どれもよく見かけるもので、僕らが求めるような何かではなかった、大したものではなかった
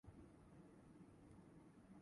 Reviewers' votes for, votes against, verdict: 0, 3, rejected